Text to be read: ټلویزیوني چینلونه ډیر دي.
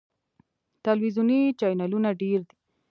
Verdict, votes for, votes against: rejected, 1, 2